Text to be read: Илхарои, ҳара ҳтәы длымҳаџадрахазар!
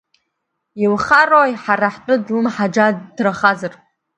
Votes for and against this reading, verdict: 0, 2, rejected